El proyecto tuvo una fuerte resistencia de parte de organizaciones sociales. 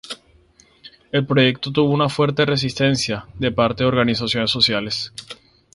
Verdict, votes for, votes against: rejected, 0, 2